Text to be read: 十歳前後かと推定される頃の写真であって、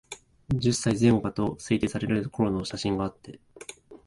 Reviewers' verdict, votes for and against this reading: accepted, 2, 1